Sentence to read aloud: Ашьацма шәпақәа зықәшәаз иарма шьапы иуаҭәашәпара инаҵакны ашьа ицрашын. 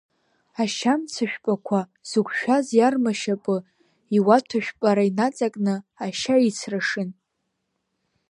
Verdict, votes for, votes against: rejected, 1, 2